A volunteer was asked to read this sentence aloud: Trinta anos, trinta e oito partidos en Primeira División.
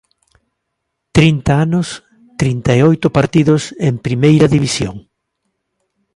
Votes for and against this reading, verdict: 2, 0, accepted